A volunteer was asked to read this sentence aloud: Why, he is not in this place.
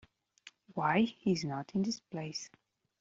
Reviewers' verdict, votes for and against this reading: rejected, 0, 2